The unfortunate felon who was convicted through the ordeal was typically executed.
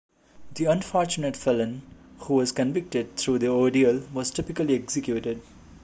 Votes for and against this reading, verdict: 2, 0, accepted